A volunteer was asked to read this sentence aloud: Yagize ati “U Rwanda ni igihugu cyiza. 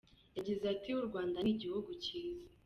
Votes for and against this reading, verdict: 1, 2, rejected